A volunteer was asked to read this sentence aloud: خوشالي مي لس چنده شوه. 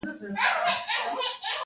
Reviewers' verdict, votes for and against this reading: rejected, 0, 2